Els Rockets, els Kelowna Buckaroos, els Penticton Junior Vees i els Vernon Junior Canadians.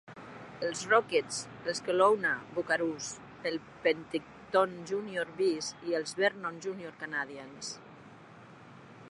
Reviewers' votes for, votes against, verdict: 0, 2, rejected